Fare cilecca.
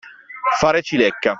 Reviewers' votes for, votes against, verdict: 2, 0, accepted